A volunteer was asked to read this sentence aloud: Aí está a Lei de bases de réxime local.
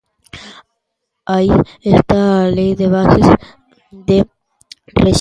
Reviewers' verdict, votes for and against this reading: rejected, 0, 2